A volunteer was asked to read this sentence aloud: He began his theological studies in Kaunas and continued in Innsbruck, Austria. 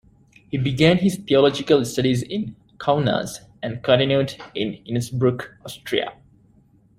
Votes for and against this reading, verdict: 2, 0, accepted